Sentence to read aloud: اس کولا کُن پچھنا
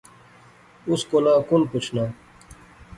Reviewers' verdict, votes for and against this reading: accepted, 2, 0